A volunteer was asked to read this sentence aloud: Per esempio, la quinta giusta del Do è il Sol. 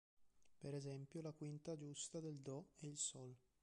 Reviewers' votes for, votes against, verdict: 2, 0, accepted